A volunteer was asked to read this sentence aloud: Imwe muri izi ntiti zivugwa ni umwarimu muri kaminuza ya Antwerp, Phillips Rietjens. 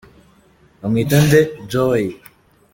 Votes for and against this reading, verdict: 0, 2, rejected